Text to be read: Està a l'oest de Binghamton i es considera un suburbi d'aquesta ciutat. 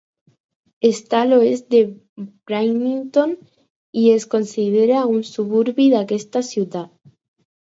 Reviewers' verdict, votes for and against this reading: rejected, 0, 4